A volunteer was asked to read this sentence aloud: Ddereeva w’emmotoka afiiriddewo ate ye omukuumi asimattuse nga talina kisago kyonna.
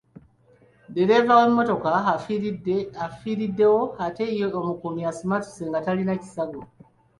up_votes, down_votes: 1, 2